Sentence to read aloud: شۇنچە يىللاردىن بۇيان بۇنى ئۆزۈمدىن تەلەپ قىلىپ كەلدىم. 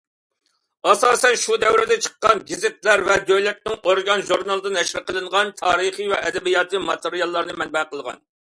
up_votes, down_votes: 0, 2